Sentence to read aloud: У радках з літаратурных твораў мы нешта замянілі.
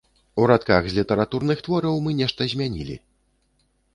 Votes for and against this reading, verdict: 0, 2, rejected